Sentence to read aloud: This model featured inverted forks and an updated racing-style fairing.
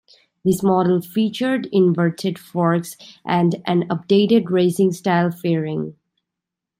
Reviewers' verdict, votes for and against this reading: accepted, 2, 0